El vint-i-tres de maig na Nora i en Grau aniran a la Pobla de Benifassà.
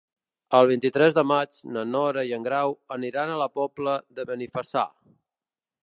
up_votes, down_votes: 2, 0